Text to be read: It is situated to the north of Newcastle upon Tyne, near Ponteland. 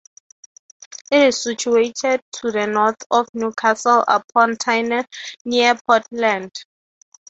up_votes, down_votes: 3, 0